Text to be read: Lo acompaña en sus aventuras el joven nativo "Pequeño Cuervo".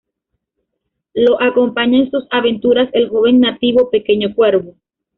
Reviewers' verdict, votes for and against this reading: accepted, 2, 1